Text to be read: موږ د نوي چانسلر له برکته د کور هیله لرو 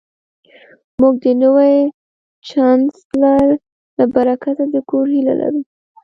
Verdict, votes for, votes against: rejected, 1, 2